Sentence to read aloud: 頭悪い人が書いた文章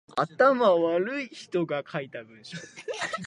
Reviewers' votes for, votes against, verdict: 2, 3, rejected